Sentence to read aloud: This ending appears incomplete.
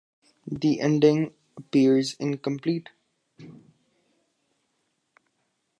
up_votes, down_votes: 2, 3